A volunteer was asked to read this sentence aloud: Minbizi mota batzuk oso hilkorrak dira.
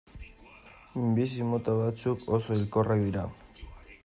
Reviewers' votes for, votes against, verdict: 1, 2, rejected